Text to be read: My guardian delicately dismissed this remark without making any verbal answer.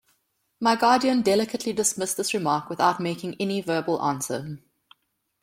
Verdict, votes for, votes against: accepted, 2, 0